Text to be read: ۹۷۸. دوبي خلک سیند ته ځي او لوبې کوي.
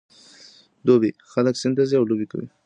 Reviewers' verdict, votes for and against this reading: rejected, 0, 2